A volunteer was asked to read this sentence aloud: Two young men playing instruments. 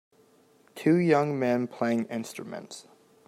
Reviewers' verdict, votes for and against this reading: accepted, 2, 0